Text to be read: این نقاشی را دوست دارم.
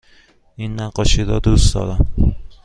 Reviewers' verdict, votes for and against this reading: accepted, 2, 0